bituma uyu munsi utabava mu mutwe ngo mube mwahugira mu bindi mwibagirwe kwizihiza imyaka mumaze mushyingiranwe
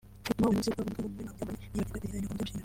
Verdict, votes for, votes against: rejected, 0, 2